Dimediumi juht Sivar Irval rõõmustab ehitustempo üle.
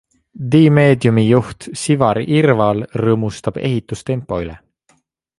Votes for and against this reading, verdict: 2, 0, accepted